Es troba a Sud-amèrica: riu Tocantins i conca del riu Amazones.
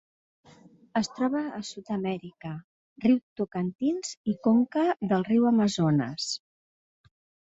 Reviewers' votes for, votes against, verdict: 3, 0, accepted